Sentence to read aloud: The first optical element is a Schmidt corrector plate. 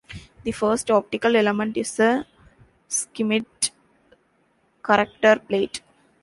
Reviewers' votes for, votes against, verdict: 1, 2, rejected